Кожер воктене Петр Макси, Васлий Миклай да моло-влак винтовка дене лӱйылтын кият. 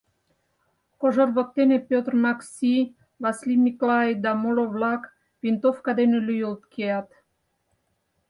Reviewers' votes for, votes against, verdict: 0, 4, rejected